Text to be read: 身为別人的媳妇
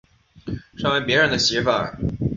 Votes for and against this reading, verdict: 2, 0, accepted